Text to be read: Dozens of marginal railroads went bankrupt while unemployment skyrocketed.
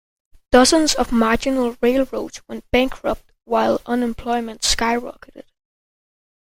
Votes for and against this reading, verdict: 2, 0, accepted